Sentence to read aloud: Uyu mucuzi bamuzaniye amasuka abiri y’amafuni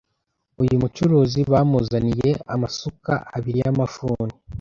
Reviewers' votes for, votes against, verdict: 1, 2, rejected